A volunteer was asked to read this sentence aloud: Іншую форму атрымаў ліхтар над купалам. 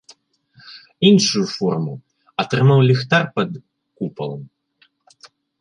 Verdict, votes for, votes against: rejected, 0, 2